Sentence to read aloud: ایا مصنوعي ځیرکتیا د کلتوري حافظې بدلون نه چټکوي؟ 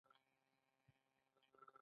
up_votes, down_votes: 2, 0